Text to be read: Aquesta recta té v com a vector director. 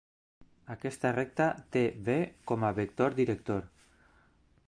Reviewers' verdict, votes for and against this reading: accepted, 2, 0